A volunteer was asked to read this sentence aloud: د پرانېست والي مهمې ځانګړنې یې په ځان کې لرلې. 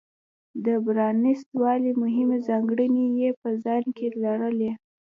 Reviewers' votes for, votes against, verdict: 2, 0, accepted